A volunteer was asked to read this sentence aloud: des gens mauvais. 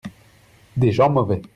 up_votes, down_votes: 2, 0